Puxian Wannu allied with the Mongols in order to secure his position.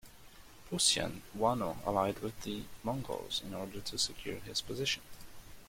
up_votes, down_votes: 1, 2